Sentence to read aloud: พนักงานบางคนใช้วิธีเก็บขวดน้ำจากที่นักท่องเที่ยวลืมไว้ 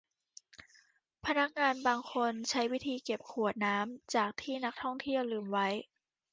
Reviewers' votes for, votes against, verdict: 2, 0, accepted